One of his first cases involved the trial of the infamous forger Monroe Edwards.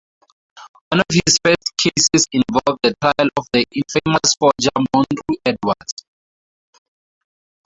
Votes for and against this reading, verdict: 0, 2, rejected